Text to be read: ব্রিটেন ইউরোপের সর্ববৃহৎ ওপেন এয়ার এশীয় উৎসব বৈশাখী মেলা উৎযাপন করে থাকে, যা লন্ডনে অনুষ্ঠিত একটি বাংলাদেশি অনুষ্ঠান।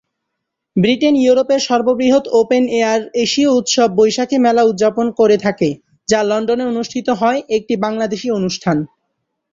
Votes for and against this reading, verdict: 5, 6, rejected